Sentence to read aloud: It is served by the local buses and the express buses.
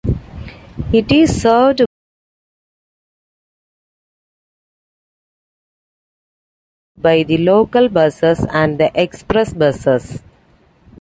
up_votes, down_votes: 0, 2